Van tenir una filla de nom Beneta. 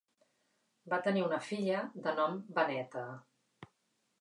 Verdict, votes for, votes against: rejected, 0, 2